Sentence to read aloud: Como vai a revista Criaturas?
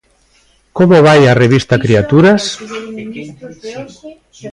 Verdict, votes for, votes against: rejected, 1, 2